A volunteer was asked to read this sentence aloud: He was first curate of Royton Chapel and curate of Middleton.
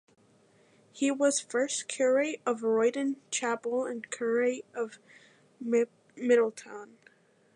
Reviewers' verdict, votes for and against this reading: rejected, 0, 2